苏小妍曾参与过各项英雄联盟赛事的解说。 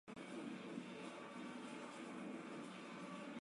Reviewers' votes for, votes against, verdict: 0, 3, rejected